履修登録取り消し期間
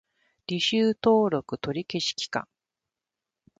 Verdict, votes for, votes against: accepted, 2, 0